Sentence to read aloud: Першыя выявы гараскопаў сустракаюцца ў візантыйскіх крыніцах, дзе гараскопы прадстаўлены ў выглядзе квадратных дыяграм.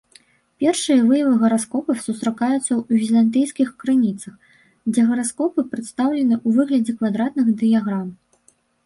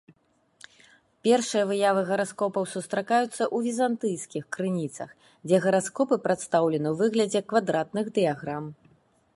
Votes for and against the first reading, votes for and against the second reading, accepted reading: 1, 2, 2, 0, second